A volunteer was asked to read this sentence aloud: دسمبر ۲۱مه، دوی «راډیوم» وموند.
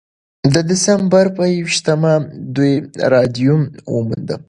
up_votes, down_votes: 0, 2